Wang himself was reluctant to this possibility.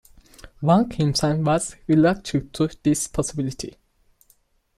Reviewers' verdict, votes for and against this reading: rejected, 0, 2